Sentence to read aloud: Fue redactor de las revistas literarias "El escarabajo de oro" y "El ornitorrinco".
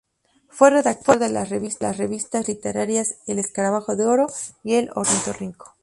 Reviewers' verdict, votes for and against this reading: rejected, 2, 2